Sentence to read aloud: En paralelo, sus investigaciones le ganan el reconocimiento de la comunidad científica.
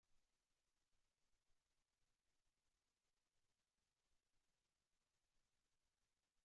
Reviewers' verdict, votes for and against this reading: rejected, 0, 2